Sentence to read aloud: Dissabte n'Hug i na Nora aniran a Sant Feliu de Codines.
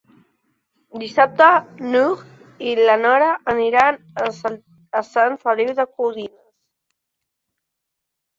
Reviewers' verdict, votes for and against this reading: rejected, 0, 2